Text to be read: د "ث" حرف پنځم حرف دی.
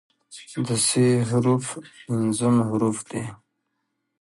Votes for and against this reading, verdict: 1, 2, rejected